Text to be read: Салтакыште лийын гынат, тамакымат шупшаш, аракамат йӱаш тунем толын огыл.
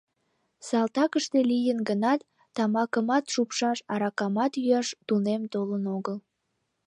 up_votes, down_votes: 2, 1